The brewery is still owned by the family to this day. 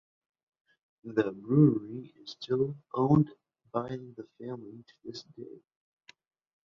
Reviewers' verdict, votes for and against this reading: rejected, 0, 2